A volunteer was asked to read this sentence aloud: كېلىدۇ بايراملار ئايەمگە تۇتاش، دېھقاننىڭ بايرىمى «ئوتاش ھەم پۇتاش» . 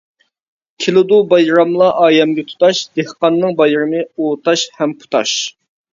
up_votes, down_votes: 2, 0